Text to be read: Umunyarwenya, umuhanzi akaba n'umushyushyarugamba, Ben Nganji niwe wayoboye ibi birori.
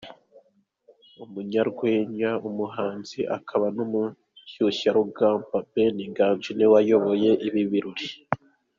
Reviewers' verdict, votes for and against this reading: rejected, 0, 2